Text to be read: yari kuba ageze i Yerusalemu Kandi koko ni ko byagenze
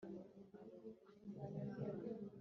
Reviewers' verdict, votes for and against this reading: rejected, 2, 3